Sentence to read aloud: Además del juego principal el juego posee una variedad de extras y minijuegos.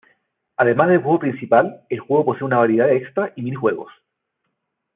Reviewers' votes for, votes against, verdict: 1, 2, rejected